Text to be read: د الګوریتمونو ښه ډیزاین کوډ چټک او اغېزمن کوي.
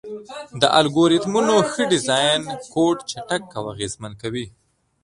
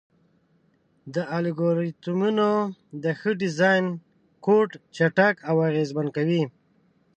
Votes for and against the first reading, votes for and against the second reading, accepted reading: 2, 1, 1, 2, first